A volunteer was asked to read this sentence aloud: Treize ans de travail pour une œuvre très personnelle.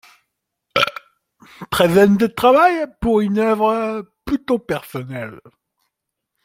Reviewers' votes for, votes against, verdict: 0, 2, rejected